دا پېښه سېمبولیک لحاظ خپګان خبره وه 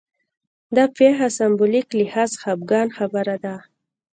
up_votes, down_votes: 0, 2